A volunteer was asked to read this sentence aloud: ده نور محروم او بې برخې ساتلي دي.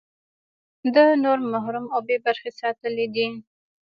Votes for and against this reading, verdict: 2, 0, accepted